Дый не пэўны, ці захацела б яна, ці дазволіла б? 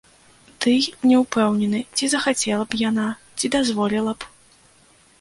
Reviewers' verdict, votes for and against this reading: rejected, 0, 2